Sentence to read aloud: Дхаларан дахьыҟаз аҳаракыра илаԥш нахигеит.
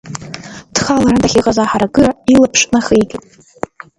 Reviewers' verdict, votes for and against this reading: rejected, 0, 2